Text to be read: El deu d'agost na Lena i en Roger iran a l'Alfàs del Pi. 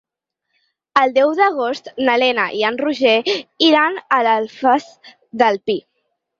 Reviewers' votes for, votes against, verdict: 2, 4, rejected